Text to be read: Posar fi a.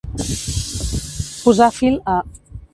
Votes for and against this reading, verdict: 0, 2, rejected